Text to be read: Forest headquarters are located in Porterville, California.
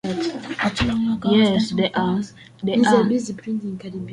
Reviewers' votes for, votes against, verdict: 0, 2, rejected